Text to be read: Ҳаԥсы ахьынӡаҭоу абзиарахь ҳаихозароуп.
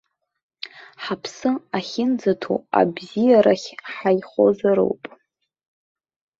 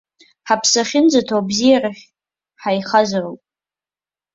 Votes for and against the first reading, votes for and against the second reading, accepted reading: 2, 0, 1, 2, first